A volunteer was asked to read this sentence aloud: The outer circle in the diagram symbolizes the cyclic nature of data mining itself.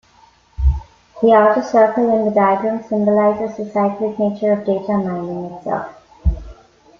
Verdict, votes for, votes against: rejected, 1, 2